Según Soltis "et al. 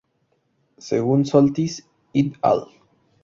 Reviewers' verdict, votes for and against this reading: accepted, 2, 0